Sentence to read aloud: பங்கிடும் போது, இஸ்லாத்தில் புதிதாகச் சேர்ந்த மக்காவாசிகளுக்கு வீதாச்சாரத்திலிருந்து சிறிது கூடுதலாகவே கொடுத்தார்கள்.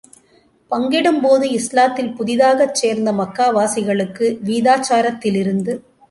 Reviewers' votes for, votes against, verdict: 0, 2, rejected